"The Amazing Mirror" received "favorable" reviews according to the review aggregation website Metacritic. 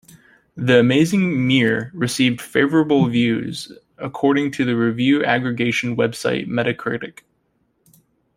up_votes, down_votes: 2, 1